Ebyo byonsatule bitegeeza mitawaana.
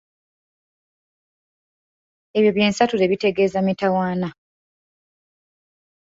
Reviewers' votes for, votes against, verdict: 0, 2, rejected